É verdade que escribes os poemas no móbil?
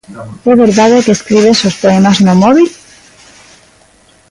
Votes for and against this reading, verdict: 1, 2, rejected